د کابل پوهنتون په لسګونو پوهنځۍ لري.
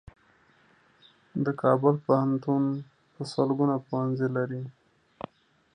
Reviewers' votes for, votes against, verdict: 0, 2, rejected